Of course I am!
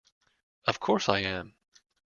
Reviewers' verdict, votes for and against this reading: accepted, 2, 0